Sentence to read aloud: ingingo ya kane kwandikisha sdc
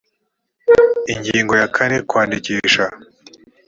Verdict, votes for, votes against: rejected, 0, 3